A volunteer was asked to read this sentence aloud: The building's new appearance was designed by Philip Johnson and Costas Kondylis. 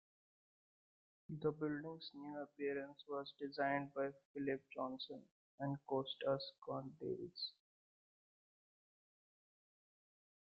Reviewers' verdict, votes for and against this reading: rejected, 0, 2